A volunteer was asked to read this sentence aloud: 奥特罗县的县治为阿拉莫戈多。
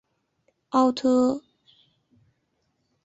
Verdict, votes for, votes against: rejected, 0, 2